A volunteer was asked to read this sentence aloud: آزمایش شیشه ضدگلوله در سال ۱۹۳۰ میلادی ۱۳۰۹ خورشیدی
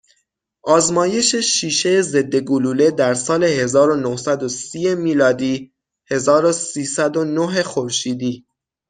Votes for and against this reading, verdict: 0, 2, rejected